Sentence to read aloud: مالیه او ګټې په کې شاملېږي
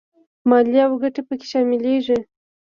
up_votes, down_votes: 2, 0